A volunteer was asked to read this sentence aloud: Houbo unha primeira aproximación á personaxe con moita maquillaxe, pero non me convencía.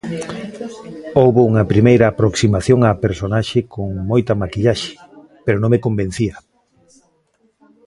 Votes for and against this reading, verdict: 1, 2, rejected